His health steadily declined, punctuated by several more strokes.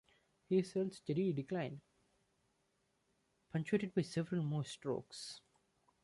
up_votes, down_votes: 0, 2